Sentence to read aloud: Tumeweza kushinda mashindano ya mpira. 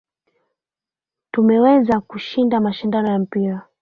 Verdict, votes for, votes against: accepted, 3, 1